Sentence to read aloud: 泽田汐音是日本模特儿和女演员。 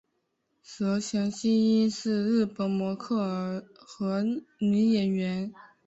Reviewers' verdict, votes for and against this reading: accepted, 5, 0